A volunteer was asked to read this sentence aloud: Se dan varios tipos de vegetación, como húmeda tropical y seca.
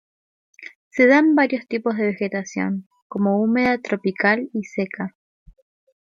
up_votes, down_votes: 2, 0